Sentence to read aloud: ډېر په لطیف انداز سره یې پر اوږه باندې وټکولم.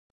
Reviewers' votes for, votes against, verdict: 0, 2, rejected